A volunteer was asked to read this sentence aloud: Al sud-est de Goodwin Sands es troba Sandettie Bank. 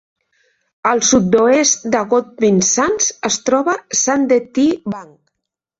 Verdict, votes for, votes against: rejected, 1, 2